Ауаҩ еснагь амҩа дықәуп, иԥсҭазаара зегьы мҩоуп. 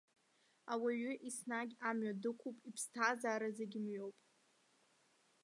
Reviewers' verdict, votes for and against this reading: rejected, 0, 2